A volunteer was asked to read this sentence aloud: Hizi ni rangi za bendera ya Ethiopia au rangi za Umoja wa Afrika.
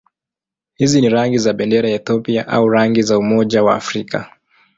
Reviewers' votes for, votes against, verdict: 2, 0, accepted